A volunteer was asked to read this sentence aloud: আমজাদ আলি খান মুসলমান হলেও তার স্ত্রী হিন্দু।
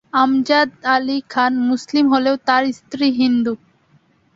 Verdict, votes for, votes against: rejected, 0, 2